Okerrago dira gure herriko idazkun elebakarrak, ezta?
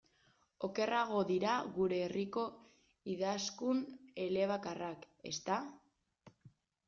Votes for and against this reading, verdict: 1, 2, rejected